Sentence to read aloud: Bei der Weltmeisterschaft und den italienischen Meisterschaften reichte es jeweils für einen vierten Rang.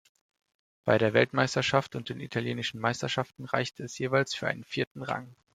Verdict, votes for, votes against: accepted, 2, 0